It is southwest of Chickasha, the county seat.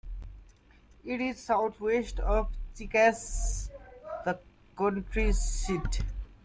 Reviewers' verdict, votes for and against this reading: rejected, 1, 2